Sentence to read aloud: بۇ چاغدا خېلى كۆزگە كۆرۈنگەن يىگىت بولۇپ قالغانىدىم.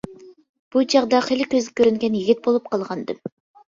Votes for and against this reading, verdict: 2, 0, accepted